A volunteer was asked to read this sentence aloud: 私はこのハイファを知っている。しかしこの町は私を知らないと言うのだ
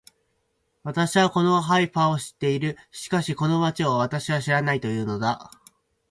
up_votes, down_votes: 2, 4